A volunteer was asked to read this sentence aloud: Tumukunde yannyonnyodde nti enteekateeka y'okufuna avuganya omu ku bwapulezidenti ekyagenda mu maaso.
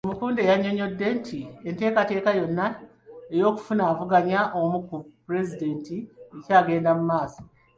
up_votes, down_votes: 0, 2